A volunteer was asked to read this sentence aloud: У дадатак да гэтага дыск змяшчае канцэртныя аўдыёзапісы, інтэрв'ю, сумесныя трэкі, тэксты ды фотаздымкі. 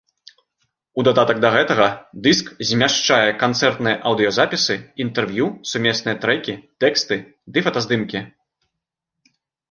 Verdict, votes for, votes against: accepted, 2, 0